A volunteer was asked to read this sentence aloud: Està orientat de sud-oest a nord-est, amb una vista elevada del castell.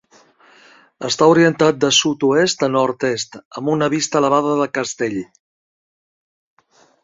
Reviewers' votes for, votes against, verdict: 0, 2, rejected